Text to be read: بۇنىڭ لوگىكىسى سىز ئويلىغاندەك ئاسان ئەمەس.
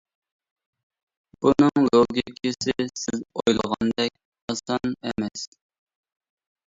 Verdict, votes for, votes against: rejected, 1, 2